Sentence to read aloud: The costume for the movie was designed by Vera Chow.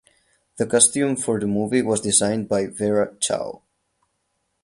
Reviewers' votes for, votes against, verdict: 4, 0, accepted